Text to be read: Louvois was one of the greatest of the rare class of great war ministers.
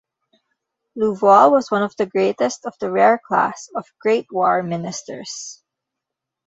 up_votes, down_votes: 2, 0